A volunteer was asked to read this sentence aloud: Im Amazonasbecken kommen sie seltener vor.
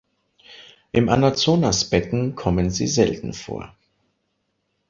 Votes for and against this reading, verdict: 0, 3, rejected